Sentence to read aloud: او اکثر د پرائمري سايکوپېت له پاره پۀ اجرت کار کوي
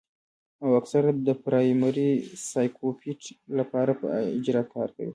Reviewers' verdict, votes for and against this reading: accepted, 2, 0